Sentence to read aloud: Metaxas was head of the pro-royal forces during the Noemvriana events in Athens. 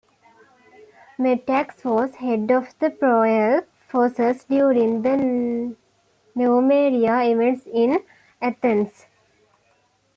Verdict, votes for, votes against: rejected, 1, 2